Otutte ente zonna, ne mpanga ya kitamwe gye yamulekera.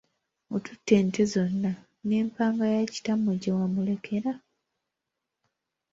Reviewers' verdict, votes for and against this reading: accepted, 2, 0